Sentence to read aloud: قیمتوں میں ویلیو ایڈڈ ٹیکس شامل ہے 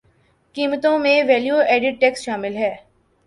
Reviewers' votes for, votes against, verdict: 2, 0, accepted